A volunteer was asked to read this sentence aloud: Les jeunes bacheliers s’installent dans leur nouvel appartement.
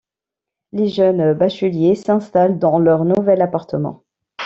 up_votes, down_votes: 3, 2